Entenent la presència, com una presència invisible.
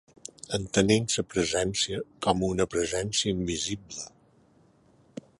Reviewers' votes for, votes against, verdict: 0, 2, rejected